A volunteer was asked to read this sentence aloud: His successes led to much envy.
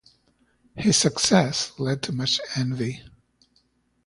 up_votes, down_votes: 0, 2